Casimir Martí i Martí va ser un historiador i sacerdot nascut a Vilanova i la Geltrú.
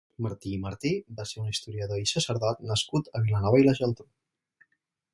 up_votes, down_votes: 2, 2